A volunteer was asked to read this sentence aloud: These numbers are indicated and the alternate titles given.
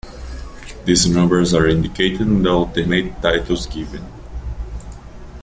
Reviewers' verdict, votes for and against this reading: accepted, 2, 0